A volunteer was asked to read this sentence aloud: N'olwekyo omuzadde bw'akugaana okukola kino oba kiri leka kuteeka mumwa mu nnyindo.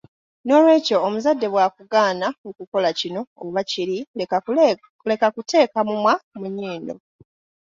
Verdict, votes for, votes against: accepted, 2, 0